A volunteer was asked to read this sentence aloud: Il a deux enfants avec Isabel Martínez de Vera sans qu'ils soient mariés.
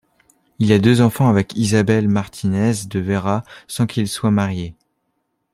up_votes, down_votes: 2, 1